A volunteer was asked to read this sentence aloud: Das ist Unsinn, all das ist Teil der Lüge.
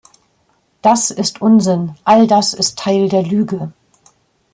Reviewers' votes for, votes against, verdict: 2, 0, accepted